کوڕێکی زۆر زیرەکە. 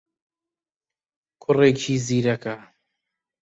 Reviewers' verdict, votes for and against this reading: rejected, 0, 2